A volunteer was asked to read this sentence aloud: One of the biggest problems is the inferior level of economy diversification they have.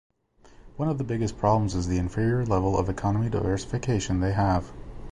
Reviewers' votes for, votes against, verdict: 2, 0, accepted